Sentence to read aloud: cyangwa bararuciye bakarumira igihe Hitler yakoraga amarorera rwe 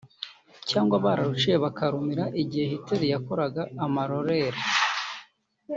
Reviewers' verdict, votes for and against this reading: rejected, 1, 2